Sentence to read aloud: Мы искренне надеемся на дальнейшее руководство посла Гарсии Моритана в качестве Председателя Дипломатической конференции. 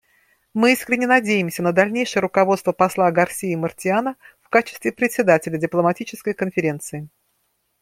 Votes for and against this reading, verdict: 0, 2, rejected